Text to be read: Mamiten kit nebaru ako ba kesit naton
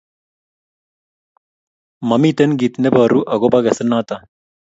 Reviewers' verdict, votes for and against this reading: accepted, 2, 0